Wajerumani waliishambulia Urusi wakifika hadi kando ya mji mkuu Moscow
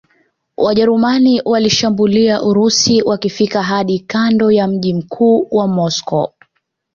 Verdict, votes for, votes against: accepted, 2, 1